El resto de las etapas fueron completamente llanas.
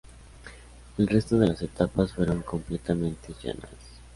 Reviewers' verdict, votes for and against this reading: accepted, 2, 0